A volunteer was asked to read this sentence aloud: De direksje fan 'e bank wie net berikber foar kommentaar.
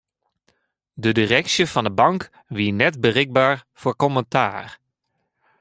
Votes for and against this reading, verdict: 0, 2, rejected